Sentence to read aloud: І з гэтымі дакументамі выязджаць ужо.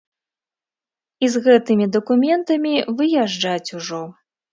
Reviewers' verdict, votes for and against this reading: accepted, 2, 0